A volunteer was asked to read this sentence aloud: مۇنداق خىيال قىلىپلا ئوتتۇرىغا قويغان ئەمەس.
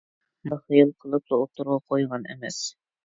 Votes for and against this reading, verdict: 1, 2, rejected